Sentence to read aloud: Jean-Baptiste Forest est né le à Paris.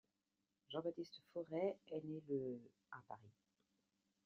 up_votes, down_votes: 2, 0